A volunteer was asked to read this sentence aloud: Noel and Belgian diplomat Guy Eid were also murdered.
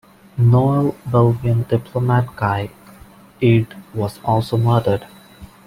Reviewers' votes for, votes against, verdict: 1, 2, rejected